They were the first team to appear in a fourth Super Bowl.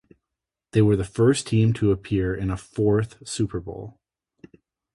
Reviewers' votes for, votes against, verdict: 2, 0, accepted